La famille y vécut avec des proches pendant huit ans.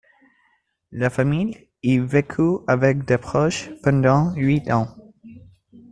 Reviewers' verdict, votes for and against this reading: accepted, 2, 1